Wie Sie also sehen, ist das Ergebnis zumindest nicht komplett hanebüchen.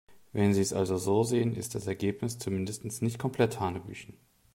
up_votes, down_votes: 1, 2